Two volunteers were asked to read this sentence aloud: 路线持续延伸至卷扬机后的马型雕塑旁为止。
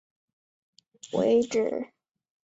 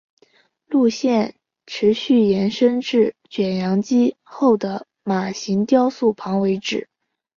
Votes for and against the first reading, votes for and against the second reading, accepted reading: 1, 4, 2, 0, second